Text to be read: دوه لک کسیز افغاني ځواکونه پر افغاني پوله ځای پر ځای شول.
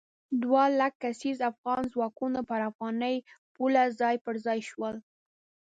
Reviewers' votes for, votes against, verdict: 2, 3, rejected